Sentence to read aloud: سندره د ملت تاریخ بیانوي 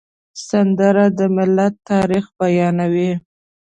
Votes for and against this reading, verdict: 2, 0, accepted